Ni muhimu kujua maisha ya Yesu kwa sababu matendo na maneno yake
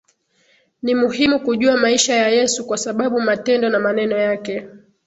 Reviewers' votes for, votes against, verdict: 4, 4, rejected